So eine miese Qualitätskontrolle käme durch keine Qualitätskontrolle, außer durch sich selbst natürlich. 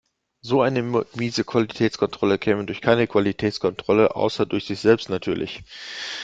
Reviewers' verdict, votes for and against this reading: rejected, 1, 2